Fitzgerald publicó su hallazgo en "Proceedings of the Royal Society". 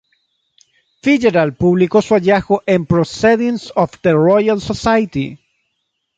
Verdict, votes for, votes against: rejected, 3, 3